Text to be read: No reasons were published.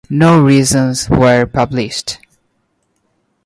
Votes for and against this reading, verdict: 2, 0, accepted